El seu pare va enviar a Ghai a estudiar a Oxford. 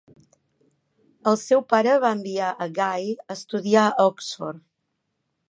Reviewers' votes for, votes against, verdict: 2, 0, accepted